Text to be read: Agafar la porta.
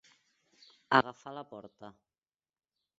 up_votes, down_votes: 4, 2